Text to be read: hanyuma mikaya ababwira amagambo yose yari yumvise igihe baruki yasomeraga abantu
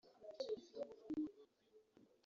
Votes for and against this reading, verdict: 1, 2, rejected